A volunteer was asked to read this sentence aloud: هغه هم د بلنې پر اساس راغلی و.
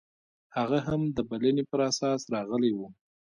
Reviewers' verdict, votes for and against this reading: rejected, 2, 3